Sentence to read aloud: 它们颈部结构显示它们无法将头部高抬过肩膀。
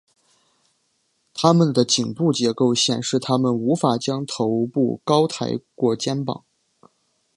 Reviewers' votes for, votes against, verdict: 1, 2, rejected